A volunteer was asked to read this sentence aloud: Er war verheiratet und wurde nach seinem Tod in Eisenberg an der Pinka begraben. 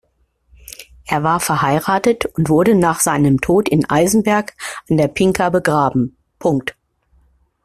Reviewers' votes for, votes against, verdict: 1, 2, rejected